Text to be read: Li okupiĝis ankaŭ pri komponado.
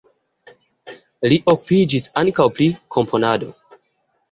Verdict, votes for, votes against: rejected, 0, 2